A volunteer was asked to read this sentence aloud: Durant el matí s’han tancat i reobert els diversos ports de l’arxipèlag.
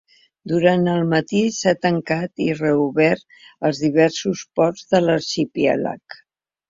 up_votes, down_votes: 0, 2